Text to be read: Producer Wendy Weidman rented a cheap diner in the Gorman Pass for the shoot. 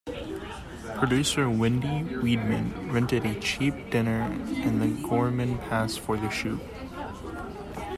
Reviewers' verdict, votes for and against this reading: rejected, 0, 2